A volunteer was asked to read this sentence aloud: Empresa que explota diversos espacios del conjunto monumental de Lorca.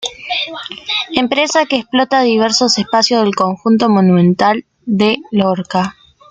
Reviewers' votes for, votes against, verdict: 2, 0, accepted